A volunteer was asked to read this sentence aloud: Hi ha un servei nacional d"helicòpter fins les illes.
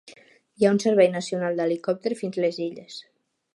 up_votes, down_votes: 2, 0